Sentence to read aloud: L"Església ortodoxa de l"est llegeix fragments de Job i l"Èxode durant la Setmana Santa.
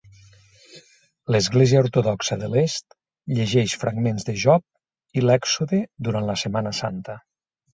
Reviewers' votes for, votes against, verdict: 3, 0, accepted